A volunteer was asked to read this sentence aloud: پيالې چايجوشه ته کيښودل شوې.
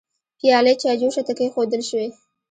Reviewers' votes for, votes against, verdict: 2, 0, accepted